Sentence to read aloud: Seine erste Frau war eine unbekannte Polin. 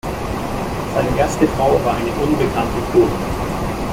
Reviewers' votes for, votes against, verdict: 0, 2, rejected